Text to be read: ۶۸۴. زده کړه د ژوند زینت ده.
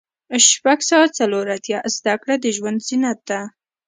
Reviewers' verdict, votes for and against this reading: rejected, 0, 2